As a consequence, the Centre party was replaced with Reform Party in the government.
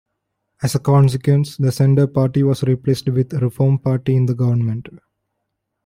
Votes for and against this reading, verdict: 2, 0, accepted